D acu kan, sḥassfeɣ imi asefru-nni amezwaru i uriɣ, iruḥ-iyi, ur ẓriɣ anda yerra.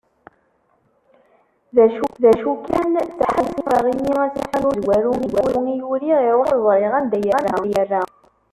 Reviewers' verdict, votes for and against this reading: rejected, 0, 2